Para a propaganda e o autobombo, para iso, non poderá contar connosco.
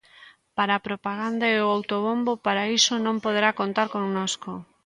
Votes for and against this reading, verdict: 2, 0, accepted